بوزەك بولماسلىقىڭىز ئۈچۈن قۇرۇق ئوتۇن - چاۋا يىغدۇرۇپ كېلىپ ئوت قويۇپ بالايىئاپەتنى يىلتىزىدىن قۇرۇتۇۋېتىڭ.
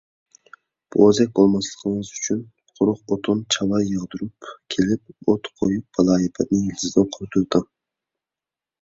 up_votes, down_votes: 1, 2